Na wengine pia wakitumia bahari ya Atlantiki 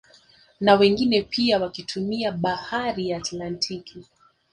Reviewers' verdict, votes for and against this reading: accepted, 2, 0